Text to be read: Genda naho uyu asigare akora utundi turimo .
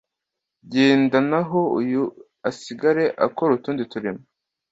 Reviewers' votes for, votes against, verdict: 2, 0, accepted